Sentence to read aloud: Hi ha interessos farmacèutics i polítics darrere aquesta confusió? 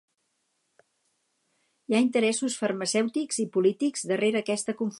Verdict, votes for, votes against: rejected, 0, 4